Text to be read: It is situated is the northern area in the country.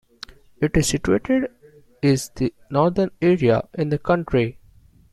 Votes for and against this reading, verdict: 1, 2, rejected